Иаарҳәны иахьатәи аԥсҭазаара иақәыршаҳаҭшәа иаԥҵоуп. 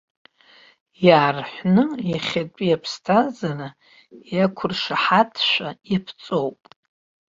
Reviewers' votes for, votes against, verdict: 1, 2, rejected